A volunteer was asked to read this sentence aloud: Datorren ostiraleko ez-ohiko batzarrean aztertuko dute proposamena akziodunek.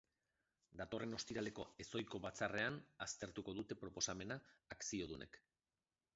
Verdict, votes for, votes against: rejected, 0, 2